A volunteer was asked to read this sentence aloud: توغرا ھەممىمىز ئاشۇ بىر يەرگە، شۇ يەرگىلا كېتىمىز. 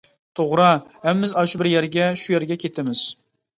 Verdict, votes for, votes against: rejected, 1, 2